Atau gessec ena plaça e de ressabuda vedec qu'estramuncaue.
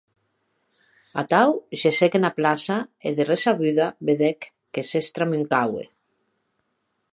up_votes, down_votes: 3, 0